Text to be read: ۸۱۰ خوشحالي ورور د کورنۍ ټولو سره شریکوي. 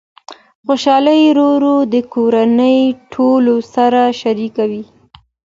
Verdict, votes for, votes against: rejected, 0, 2